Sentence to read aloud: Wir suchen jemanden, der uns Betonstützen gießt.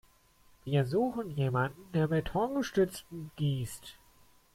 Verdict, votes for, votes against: rejected, 0, 2